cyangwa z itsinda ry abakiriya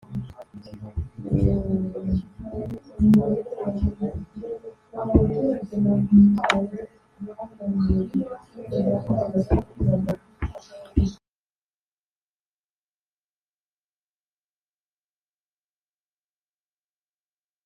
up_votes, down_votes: 0, 3